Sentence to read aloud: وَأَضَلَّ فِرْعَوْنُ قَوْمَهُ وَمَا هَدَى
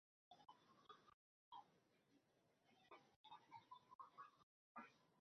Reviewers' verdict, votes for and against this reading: rejected, 0, 2